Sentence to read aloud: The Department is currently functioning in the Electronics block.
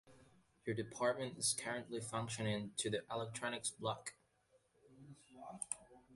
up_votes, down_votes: 0, 2